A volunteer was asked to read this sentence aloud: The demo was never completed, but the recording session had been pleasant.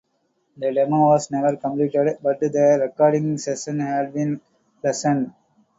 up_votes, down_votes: 0, 2